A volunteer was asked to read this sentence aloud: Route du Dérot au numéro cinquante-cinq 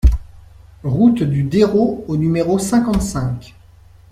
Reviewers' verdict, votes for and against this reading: accepted, 2, 0